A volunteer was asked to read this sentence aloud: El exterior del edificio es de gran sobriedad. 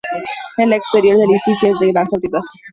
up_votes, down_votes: 2, 0